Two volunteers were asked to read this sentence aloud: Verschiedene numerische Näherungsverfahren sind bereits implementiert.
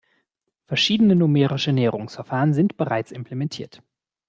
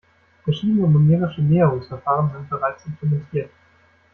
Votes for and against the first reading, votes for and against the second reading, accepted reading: 2, 0, 0, 2, first